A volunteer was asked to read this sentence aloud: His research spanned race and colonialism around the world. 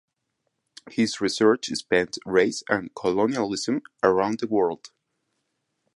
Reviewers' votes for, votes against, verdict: 2, 4, rejected